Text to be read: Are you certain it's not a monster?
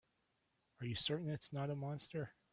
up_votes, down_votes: 2, 0